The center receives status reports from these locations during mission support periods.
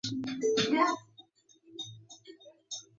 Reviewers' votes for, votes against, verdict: 0, 4, rejected